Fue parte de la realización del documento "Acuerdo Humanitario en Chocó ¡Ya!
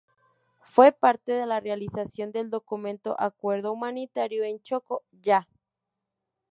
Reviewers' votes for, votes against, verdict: 2, 0, accepted